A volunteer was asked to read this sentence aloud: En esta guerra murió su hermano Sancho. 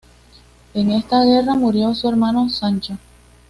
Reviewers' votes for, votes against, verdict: 2, 0, accepted